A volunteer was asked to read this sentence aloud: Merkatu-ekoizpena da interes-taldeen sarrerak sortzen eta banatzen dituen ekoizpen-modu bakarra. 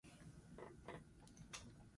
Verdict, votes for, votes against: rejected, 0, 2